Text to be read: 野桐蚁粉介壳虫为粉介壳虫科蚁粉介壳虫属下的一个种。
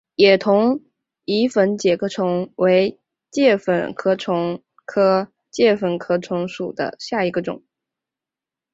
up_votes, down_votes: 0, 4